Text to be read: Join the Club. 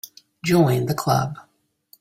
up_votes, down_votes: 3, 0